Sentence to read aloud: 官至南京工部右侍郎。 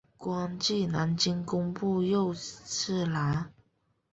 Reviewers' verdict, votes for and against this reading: accepted, 3, 1